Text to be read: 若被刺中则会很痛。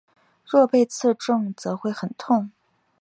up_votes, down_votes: 2, 0